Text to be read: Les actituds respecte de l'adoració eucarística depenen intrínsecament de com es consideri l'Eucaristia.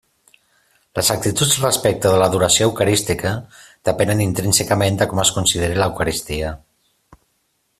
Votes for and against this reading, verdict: 2, 1, accepted